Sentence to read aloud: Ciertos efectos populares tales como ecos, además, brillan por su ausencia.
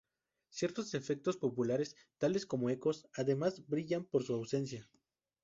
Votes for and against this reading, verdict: 0, 2, rejected